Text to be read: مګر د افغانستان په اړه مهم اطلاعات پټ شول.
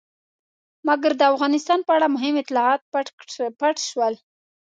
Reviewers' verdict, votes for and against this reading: rejected, 1, 2